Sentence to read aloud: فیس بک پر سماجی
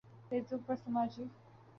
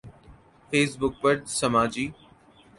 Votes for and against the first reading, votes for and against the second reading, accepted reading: 1, 2, 2, 0, second